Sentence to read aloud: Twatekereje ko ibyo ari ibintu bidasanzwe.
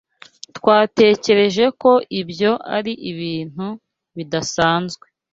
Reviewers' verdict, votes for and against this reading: accepted, 2, 0